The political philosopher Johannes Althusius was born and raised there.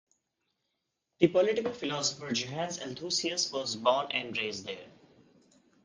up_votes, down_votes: 2, 0